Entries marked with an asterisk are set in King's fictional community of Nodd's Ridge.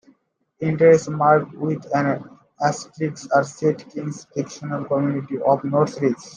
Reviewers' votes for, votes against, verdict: 0, 2, rejected